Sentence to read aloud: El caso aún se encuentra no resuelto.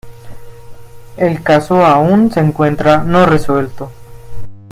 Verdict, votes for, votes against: rejected, 1, 2